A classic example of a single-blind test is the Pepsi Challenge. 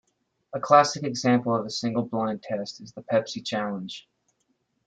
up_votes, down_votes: 2, 1